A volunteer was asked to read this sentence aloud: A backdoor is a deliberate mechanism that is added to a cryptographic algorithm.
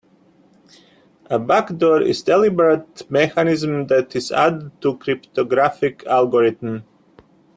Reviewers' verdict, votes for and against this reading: rejected, 1, 2